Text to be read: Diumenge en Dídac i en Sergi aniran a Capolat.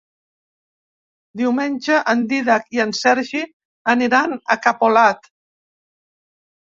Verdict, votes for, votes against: accepted, 3, 0